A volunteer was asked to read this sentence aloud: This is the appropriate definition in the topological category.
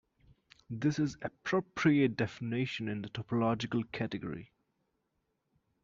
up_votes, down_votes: 2, 1